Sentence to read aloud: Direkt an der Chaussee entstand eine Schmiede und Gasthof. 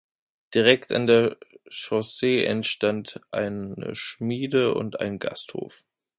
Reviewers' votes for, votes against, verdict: 0, 2, rejected